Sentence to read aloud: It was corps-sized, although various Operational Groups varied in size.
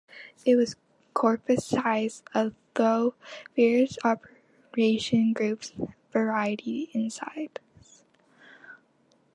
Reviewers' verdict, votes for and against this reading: rejected, 1, 2